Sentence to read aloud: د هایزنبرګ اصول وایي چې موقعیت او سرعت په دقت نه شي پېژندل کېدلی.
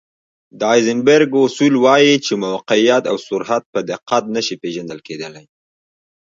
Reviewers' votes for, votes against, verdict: 2, 1, accepted